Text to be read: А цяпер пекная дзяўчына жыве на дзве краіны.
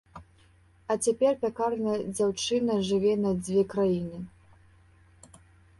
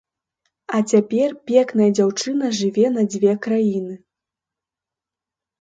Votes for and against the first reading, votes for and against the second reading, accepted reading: 0, 2, 3, 0, second